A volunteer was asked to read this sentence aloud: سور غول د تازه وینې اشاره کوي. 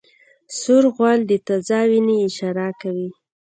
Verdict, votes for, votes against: accepted, 2, 0